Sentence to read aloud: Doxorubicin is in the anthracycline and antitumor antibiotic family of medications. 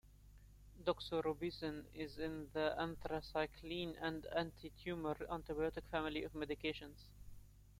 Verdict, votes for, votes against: rejected, 0, 2